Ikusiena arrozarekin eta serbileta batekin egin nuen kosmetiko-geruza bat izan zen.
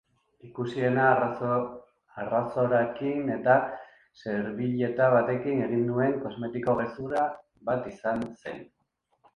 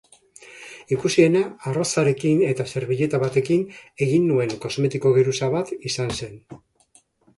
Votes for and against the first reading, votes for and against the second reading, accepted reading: 0, 2, 2, 0, second